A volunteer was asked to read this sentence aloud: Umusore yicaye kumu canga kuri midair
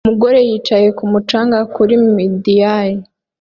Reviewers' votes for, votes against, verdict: 1, 2, rejected